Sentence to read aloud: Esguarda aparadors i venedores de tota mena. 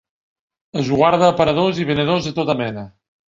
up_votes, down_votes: 2, 0